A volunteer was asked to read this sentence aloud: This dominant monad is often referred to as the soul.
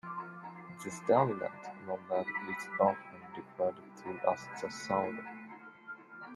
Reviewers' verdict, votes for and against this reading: rejected, 0, 2